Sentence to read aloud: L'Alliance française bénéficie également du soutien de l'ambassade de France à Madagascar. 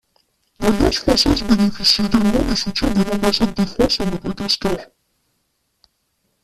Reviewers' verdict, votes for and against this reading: rejected, 0, 2